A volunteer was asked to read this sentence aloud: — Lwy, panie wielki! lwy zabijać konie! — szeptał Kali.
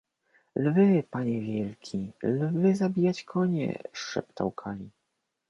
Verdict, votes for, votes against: accepted, 2, 0